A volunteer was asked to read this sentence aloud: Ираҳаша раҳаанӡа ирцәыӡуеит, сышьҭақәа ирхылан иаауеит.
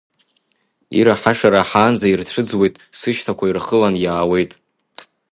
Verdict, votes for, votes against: rejected, 1, 2